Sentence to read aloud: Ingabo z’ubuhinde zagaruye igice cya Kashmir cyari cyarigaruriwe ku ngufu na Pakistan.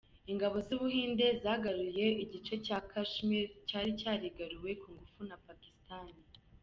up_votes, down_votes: 2, 1